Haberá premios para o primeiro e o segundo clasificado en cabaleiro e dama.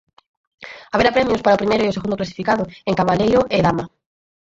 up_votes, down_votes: 0, 4